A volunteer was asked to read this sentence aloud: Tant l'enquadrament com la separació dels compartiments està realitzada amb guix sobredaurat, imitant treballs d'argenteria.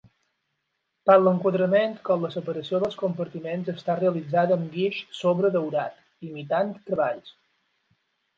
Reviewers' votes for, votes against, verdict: 0, 12, rejected